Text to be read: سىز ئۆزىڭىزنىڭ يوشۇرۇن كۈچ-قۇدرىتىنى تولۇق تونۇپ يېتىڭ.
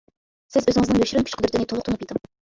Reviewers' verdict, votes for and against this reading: rejected, 0, 2